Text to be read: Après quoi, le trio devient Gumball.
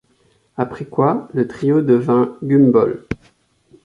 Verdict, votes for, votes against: rejected, 1, 2